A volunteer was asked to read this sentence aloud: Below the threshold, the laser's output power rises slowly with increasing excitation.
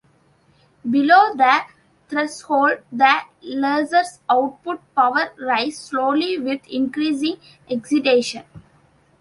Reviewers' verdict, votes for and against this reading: rejected, 1, 2